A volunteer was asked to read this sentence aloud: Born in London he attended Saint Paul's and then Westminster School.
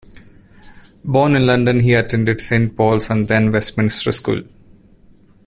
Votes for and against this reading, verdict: 2, 0, accepted